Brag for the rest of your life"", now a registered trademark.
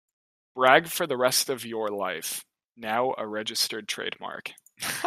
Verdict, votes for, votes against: accepted, 2, 0